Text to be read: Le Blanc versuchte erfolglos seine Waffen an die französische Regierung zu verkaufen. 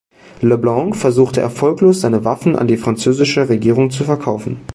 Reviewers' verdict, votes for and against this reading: accepted, 2, 0